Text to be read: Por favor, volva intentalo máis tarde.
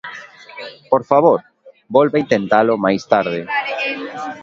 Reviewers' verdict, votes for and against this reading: accepted, 2, 1